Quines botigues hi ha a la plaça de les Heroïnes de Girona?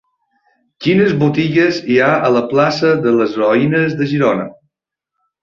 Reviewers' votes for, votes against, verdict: 0, 2, rejected